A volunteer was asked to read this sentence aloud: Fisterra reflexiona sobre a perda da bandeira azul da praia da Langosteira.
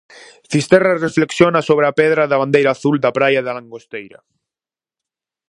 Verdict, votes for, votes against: rejected, 2, 2